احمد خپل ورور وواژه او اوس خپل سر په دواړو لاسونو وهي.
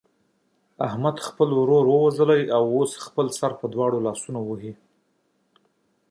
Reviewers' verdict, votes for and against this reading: accepted, 2, 1